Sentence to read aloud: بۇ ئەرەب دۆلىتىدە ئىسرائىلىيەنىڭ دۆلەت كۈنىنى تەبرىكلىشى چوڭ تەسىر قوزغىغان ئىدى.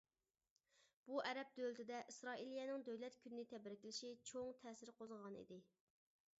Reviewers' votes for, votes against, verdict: 2, 0, accepted